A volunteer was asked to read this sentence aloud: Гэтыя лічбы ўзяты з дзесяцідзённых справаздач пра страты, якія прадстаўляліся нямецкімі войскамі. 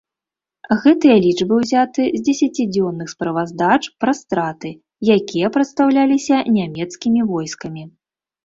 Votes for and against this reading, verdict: 2, 0, accepted